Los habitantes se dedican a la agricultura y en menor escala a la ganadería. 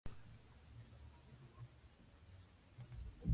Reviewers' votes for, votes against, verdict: 0, 2, rejected